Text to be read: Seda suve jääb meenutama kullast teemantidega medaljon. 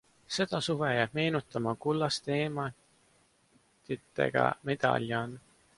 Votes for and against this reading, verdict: 1, 2, rejected